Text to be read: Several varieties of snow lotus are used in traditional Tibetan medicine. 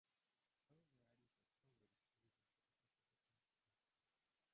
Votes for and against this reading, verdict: 0, 2, rejected